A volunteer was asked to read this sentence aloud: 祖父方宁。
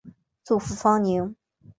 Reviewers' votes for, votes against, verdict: 2, 0, accepted